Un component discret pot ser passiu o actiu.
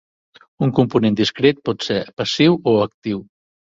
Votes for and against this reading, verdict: 2, 0, accepted